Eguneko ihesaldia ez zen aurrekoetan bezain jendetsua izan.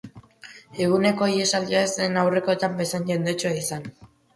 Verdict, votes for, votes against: accepted, 2, 0